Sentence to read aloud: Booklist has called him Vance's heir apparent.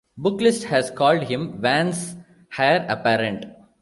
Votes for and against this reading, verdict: 2, 1, accepted